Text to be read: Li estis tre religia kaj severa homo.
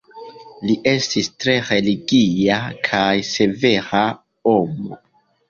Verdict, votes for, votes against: accepted, 2, 0